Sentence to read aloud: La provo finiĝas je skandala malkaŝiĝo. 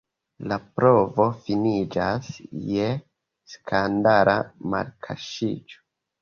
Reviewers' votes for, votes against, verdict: 2, 0, accepted